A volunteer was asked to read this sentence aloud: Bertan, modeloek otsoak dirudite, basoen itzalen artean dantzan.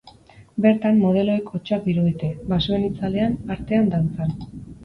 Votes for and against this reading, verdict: 2, 4, rejected